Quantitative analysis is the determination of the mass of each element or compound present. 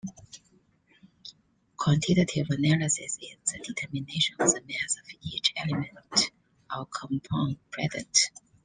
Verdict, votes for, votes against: rejected, 1, 2